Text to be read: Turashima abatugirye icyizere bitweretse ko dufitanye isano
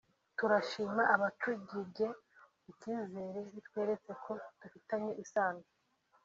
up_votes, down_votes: 0, 2